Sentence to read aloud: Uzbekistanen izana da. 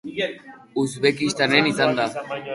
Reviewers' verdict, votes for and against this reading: rejected, 1, 2